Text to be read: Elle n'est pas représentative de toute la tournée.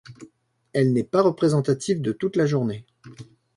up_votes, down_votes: 2, 3